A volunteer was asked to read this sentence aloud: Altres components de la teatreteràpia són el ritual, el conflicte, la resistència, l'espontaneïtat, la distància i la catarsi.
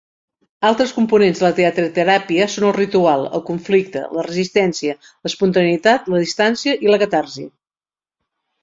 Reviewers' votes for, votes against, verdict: 2, 0, accepted